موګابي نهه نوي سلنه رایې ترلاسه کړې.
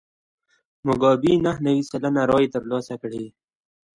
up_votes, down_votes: 2, 0